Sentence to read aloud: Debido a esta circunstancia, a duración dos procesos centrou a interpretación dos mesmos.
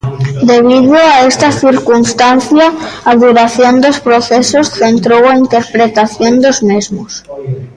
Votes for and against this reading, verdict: 1, 2, rejected